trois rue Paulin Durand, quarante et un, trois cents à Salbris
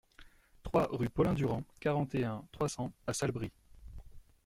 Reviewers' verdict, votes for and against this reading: rejected, 1, 2